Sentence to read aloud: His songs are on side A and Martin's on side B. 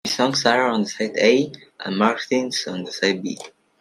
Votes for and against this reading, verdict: 2, 1, accepted